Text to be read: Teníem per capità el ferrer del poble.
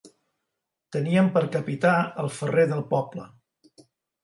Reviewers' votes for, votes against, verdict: 2, 0, accepted